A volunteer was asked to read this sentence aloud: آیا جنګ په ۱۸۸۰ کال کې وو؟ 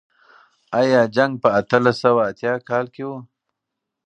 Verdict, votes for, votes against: rejected, 0, 2